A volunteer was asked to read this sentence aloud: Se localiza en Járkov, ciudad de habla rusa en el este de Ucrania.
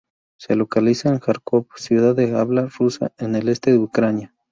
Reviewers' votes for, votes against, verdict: 2, 0, accepted